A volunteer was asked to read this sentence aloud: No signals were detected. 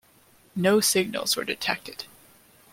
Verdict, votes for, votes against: accepted, 2, 0